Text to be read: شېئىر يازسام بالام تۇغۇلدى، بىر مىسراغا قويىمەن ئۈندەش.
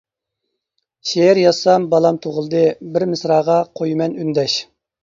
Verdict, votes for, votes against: accepted, 2, 0